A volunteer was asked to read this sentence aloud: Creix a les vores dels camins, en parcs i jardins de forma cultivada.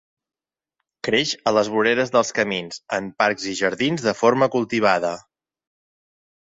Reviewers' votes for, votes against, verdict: 1, 2, rejected